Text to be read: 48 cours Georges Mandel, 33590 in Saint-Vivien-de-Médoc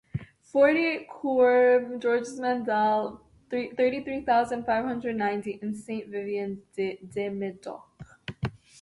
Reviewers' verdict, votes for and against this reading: rejected, 0, 2